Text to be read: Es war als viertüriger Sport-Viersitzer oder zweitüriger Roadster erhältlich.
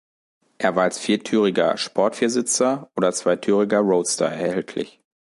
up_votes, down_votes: 2, 0